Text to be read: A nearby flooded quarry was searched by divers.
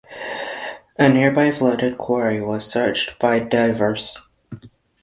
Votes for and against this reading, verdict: 6, 0, accepted